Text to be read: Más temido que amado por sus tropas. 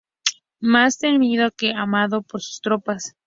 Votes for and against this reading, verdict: 4, 0, accepted